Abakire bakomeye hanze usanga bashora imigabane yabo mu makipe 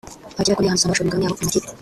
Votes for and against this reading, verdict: 0, 2, rejected